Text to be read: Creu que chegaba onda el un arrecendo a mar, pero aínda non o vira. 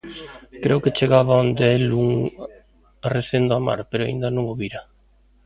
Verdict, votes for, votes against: rejected, 0, 2